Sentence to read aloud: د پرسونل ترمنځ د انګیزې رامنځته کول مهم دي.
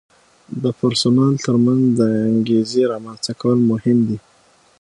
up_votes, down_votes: 6, 0